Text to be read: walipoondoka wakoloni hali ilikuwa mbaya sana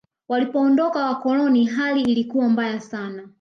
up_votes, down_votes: 2, 1